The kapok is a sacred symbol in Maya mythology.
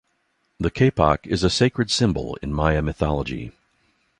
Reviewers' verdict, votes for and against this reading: accepted, 2, 0